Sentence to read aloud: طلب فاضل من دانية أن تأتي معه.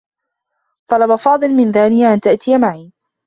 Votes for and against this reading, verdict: 2, 1, accepted